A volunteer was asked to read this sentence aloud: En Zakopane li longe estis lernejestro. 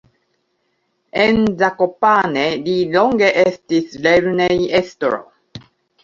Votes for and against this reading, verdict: 2, 0, accepted